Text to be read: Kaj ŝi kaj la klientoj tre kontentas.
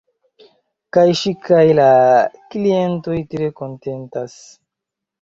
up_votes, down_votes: 2, 0